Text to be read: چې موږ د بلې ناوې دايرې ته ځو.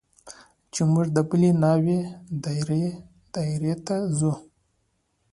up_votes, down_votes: 2, 0